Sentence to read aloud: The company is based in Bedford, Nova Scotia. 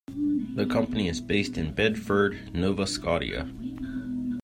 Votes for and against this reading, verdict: 1, 2, rejected